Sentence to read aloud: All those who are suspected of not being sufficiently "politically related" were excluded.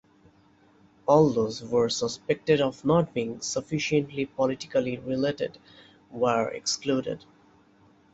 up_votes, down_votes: 0, 2